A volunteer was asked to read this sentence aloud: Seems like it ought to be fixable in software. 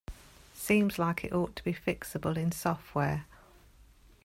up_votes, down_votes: 2, 0